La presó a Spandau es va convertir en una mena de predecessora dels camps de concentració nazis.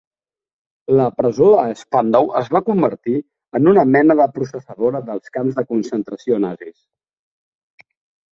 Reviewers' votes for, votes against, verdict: 0, 2, rejected